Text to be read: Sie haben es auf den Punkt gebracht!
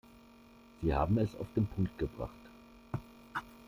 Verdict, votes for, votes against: accepted, 2, 1